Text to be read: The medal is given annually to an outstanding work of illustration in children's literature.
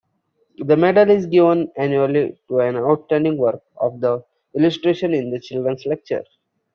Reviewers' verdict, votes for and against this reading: rejected, 0, 2